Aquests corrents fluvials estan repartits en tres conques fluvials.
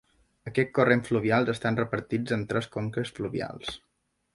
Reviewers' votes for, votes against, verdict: 0, 2, rejected